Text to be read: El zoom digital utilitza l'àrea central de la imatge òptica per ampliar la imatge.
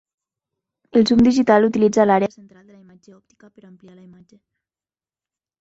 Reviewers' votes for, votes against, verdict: 2, 3, rejected